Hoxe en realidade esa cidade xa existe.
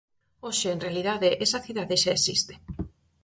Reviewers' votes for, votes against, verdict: 4, 0, accepted